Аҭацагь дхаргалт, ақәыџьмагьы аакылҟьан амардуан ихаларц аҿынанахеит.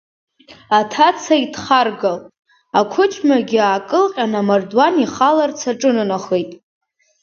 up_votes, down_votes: 2, 0